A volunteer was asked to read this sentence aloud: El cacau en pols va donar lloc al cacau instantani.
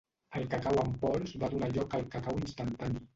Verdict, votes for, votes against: rejected, 1, 2